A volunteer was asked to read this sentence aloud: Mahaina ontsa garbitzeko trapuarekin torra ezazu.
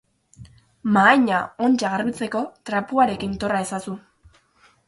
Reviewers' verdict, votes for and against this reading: accepted, 6, 0